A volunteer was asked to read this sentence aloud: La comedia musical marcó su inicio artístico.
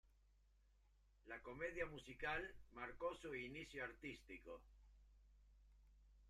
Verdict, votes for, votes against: rejected, 0, 2